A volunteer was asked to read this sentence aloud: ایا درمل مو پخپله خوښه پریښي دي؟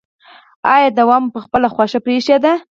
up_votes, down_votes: 2, 4